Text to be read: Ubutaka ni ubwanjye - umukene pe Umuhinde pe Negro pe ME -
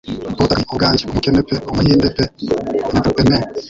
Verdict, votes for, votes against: rejected, 1, 2